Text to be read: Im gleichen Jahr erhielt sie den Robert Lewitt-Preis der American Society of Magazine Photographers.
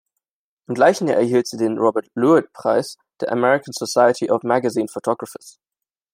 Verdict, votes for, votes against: accepted, 2, 0